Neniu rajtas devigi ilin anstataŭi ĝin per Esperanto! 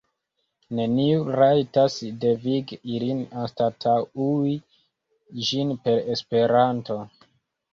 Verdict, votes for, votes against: rejected, 0, 2